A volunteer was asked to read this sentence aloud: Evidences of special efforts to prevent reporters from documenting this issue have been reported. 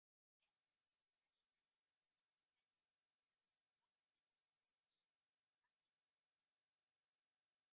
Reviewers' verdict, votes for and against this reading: rejected, 0, 2